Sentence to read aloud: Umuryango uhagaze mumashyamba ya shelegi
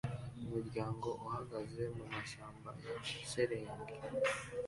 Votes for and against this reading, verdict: 2, 1, accepted